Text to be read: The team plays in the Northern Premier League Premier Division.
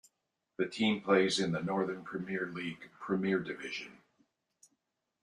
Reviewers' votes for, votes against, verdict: 2, 0, accepted